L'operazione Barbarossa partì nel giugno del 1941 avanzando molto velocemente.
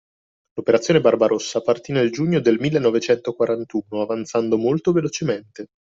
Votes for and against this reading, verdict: 0, 2, rejected